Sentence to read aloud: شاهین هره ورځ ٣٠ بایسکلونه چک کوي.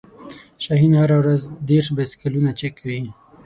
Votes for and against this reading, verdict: 0, 2, rejected